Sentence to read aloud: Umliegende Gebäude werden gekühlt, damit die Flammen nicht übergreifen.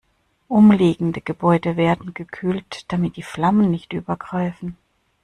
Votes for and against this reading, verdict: 2, 0, accepted